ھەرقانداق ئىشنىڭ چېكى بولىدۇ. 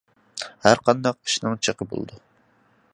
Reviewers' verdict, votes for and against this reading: accepted, 2, 0